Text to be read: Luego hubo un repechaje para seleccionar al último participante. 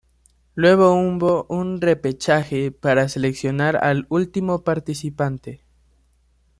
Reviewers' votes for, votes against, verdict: 1, 2, rejected